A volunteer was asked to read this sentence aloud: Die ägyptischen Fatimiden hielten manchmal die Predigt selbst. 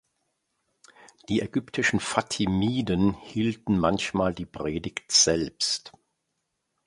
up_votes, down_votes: 2, 0